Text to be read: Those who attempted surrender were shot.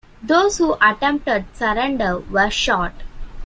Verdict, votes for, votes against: accepted, 2, 0